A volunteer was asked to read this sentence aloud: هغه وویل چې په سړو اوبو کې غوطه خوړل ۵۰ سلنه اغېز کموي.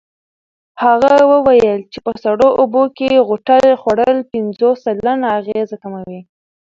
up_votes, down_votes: 0, 2